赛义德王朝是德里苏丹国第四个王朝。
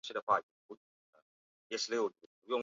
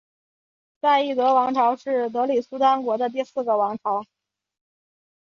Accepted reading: second